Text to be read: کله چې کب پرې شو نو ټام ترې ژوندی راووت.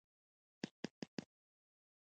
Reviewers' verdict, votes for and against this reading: rejected, 1, 2